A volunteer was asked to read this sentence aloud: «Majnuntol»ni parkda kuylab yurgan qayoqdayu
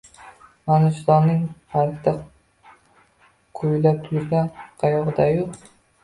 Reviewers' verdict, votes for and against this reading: rejected, 0, 2